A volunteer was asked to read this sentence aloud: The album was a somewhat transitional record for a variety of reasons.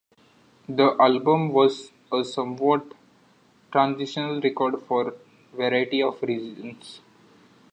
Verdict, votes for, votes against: rejected, 0, 2